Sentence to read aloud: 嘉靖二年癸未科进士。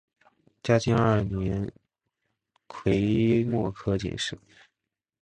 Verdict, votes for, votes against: accepted, 3, 1